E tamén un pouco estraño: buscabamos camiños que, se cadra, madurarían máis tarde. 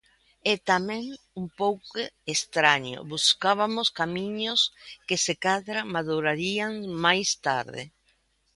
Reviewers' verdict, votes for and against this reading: rejected, 0, 2